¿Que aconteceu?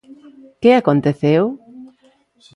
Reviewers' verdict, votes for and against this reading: accepted, 2, 0